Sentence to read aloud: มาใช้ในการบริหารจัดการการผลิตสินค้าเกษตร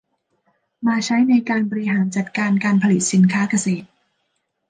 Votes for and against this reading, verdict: 1, 2, rejected